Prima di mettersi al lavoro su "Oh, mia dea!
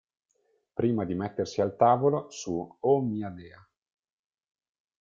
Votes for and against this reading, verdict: 0, 2, rejected